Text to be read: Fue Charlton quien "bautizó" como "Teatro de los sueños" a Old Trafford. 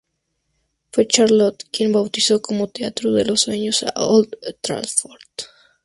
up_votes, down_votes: 0, 2